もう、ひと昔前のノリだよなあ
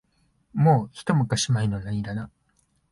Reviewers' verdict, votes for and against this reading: rejected, 0, 2